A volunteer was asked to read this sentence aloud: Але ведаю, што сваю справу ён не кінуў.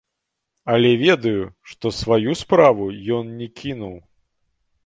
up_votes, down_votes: 2, 0